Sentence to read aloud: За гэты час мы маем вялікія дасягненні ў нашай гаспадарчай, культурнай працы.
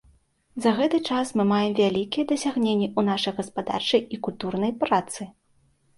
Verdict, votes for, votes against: rejected, 1, 2